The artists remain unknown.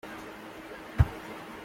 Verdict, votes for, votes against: rejected, 0, 2